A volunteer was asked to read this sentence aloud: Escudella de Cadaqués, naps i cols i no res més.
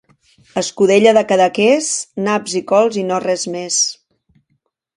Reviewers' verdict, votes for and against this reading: accepted, 2, 0